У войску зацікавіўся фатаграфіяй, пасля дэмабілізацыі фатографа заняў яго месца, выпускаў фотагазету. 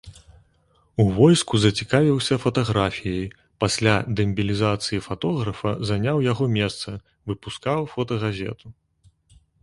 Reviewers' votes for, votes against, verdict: 2, 1, accepted